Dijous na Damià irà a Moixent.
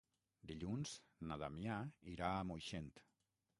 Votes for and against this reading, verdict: 6, 9, rejected